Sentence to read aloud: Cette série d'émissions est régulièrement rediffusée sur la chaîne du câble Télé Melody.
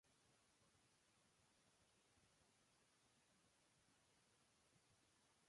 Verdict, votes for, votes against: rejected, 0, 2